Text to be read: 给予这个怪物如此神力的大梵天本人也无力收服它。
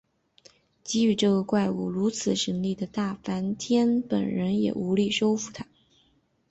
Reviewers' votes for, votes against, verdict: 2, 1, accepted